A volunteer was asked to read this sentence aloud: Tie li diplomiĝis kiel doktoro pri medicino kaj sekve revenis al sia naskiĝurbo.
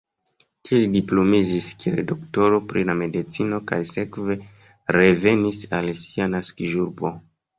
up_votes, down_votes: 1, 2